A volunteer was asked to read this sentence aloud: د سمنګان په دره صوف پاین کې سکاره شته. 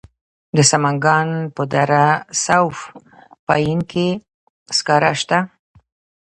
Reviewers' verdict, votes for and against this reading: rejected, 2, 3